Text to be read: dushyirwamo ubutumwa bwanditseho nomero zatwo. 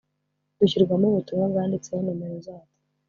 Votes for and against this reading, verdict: 3, 0, accepted